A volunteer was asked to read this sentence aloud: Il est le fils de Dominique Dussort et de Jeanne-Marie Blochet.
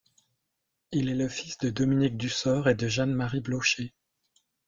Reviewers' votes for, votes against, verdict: 0, 2, rejected